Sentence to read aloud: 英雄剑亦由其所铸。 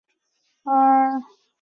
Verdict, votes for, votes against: rejected, 0, 2